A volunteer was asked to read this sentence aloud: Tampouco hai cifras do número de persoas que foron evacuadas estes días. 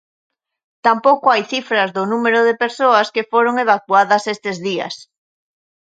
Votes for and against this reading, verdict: 2, 0, accepted